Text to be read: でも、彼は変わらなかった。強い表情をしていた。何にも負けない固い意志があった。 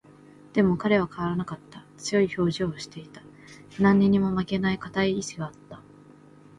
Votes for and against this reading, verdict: 2, 1, accepted